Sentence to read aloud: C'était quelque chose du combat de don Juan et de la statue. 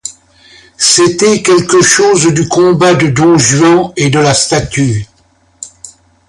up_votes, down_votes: 2, 0